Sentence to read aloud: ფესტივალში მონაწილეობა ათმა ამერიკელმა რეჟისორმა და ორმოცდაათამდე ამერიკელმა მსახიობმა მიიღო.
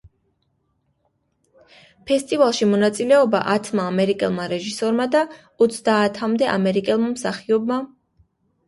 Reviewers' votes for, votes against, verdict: 0, 2, rejected